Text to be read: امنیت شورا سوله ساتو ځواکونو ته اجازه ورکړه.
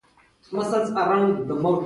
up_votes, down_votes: 0, 2